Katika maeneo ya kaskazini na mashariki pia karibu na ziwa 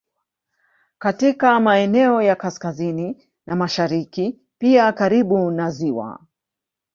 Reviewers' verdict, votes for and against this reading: accepted, 2, 0